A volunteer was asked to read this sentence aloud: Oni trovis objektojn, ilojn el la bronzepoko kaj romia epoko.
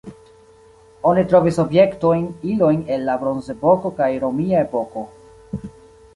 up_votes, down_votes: 2, 0